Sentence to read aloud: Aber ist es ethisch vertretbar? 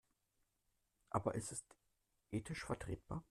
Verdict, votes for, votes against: rejected, 0, 2